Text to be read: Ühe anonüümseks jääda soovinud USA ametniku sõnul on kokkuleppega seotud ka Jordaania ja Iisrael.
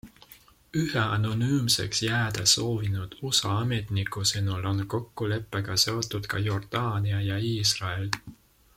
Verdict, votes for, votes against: accepted, 2, 0